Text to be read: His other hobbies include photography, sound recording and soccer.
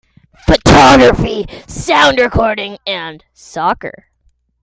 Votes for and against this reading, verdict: 0, 2, rejected